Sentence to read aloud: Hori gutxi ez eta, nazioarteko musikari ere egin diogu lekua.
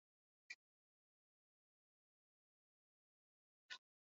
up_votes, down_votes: 0, 6